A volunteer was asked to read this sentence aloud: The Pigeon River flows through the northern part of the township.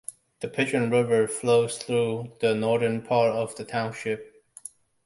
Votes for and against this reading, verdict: 1, 2, rejected